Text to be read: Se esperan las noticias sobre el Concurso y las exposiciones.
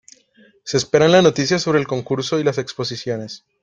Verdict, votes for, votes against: accepted, 2, 0